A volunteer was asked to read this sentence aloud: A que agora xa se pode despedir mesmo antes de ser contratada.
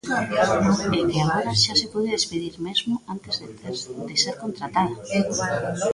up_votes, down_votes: 0, 2